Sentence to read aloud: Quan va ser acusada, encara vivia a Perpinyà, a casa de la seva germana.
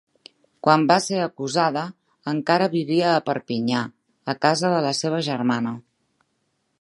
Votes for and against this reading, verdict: 1, 2, rejected